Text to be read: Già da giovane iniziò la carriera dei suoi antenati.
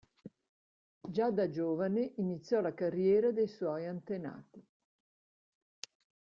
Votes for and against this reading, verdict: 2, 0, accepted